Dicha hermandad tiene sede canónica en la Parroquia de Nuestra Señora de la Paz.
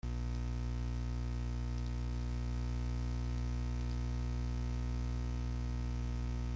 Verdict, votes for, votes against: rejected, 0, 2